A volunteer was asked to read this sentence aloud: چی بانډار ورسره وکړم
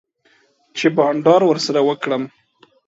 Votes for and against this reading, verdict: 2, 0, accepted